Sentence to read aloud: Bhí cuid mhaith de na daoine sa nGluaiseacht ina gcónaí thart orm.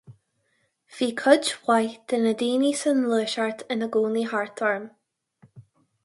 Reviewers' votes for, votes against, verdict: 4, 0, accepted